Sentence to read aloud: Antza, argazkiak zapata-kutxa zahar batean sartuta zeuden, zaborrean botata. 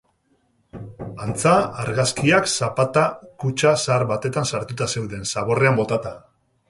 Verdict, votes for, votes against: rejected, 2, 2